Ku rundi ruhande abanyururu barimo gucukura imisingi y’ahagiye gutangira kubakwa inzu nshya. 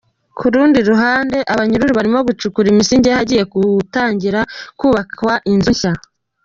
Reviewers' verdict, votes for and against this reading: rejected, 1, 2